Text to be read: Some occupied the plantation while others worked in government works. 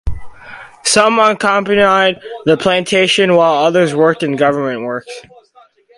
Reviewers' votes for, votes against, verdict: 2, 4, rejected